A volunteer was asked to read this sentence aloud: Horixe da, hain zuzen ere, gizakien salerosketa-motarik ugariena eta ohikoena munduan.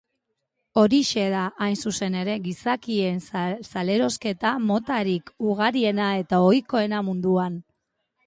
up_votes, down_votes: 0, 2